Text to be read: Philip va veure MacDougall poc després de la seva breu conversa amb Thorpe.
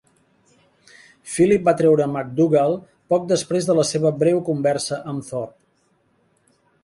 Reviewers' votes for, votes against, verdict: 1, 2, rejected